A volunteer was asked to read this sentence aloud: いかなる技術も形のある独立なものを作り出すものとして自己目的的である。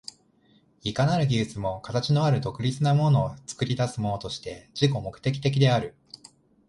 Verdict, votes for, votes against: rejected, 0, 2